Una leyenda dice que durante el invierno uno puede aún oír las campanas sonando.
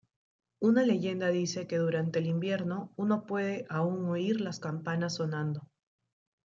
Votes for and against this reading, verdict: 2, 1, accepted